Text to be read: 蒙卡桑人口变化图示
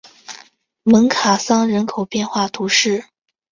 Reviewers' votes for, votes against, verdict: 3, 0, accepted